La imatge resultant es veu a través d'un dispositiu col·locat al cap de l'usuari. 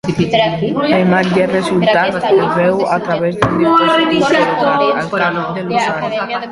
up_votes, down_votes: 0, 2